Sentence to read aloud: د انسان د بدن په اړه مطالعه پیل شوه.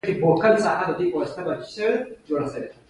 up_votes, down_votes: 2, 1